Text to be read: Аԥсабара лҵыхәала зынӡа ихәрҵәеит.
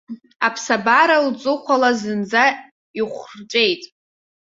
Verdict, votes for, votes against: rejected, 0, 2